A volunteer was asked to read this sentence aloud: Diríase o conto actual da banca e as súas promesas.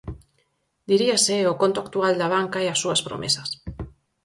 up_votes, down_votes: 4, 0